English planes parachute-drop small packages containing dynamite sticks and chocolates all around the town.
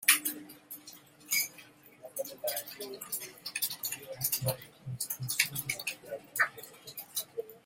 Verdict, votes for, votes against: rejected, 0, 2